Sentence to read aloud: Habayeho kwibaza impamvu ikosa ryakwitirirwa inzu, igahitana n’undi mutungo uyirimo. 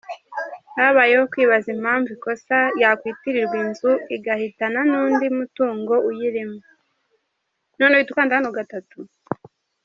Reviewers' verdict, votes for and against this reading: rejected, 1, 3